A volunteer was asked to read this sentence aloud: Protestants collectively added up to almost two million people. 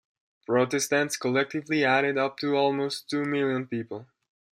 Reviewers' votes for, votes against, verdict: 1, 2, rejected